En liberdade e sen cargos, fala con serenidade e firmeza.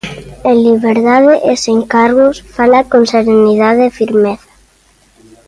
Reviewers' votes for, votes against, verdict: 2, 0, accepted